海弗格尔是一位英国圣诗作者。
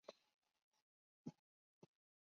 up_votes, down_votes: 0, 3